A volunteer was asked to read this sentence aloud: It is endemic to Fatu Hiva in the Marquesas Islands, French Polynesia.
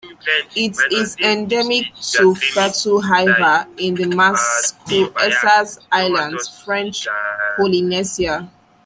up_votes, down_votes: 0, 2